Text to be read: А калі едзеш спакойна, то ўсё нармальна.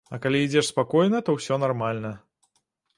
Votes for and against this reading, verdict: 0, 2, rejected